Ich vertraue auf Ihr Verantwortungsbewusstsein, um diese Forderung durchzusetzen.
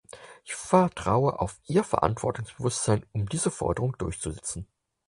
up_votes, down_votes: 4, 0